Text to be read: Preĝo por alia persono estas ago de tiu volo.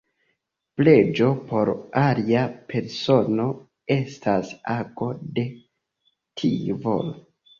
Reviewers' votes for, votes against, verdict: 2, 0, accepted